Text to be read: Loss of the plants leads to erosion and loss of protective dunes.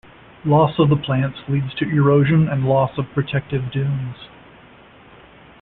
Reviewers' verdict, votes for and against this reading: accepted, 2, 0